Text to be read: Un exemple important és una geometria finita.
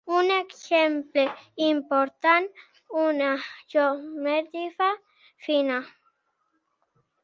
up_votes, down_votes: 0, 2